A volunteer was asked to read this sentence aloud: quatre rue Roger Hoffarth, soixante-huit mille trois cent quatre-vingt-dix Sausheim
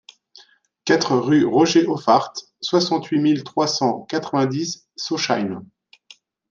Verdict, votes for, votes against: accepted, 2, 0